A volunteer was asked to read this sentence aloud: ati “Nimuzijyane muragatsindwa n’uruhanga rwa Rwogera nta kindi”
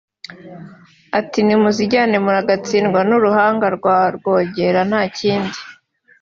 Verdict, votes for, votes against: accepted, 2, 0